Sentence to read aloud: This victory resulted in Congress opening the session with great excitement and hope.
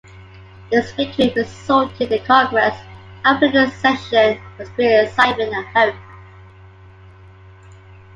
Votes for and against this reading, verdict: 1, 2, rejected